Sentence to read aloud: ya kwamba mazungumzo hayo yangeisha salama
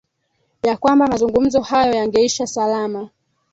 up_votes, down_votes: 2, 3